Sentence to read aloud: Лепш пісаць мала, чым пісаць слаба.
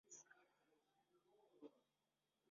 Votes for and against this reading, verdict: 0, 2, rejected